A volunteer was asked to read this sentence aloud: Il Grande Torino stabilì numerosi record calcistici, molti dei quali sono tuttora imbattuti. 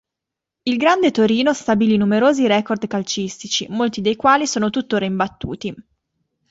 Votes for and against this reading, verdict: 2, 0, accepted